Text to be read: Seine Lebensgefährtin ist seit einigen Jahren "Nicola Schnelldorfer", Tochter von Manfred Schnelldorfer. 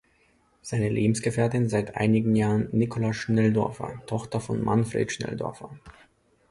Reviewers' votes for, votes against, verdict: 0, 2, rejected